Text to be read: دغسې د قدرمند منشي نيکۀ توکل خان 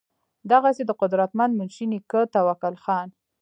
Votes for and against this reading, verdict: 0, 2, rejected